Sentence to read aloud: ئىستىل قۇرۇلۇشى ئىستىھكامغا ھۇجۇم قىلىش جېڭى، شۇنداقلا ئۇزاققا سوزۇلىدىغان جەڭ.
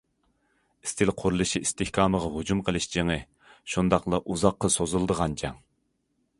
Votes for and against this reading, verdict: 2, 0, accepted